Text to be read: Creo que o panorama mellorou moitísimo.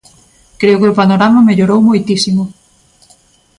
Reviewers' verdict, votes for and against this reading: accepted, 2, 0